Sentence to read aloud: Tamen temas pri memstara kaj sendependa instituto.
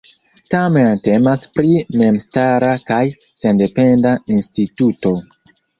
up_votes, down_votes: 2, 1